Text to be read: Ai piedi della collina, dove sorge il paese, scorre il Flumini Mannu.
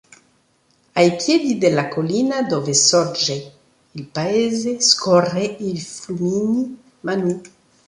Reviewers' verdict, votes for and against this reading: accepted, 2, 0